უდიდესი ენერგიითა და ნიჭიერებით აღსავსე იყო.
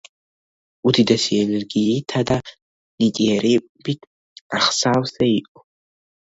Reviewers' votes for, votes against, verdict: 0, 2, rejected